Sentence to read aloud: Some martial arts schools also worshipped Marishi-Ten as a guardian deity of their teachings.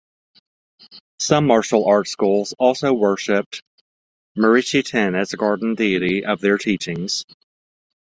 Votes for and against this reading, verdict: 1, 2, rejected